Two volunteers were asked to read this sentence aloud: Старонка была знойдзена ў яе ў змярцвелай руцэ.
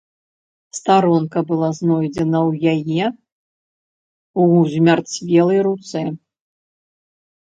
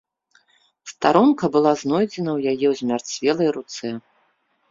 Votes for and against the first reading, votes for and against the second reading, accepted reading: 1, 2, 2, 0, second